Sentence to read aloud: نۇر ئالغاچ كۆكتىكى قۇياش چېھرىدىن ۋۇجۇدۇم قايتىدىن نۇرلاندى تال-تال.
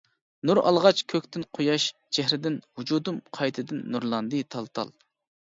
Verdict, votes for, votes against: rejected, 1, 2